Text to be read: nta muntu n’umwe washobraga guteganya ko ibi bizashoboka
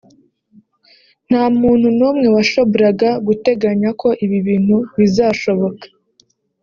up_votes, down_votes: 1, 2